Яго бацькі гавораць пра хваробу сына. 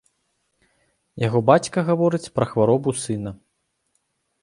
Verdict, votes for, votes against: rejected, 0, 3